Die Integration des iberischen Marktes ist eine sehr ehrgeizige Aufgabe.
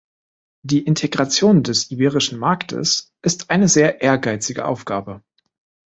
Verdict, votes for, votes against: accepted, 5, 0